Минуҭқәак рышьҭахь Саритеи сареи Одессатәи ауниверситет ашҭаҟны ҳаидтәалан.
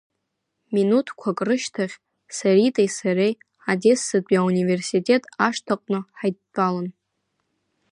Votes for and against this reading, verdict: 2, 0, accepted